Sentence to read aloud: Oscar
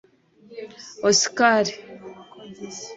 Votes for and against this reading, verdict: 1, 2, rejected